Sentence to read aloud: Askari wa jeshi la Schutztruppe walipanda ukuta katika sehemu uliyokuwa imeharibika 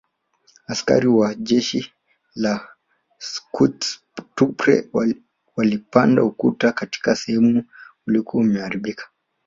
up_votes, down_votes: 4, 0